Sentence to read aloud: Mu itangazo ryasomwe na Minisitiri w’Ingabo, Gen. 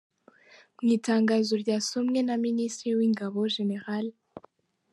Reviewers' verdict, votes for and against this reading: rejected, 1, 2